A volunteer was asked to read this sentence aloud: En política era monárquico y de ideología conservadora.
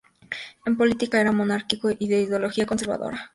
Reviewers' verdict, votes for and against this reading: accepted, 4, 0